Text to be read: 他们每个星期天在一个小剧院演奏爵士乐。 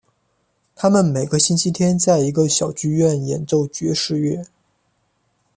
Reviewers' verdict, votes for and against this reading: accepted, 2, 1